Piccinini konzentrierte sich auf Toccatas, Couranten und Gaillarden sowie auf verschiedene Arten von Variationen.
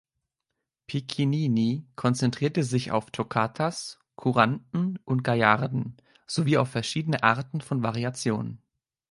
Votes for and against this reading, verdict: 2, 1, accepted